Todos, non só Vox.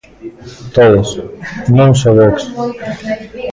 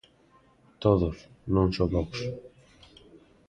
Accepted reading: second